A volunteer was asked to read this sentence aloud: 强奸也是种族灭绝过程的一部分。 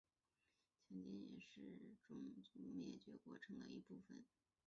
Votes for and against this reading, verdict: 0, 2, rejected